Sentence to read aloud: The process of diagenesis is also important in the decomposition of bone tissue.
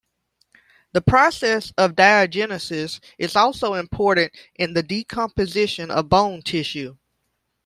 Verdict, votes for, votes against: accepted, 2, 0